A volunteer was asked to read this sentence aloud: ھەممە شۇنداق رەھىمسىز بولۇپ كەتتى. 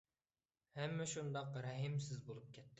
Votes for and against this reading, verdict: 0, 2, rejected